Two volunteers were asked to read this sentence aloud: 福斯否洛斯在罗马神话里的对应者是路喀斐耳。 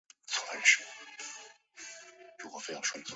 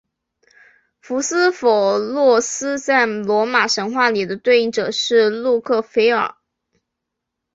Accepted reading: second